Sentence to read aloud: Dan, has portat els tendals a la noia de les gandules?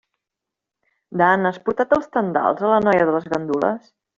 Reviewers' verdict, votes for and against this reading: accepted, 2, 0